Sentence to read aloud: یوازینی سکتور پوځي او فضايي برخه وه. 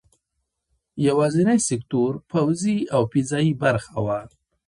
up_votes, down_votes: 2, 1